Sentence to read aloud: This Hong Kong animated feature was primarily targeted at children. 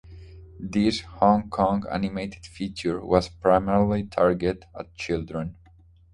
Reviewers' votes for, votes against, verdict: 0, 2, rejected